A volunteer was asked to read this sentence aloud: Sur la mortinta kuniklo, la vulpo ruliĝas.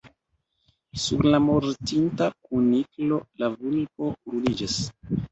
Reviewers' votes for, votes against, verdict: 2, 0, accepted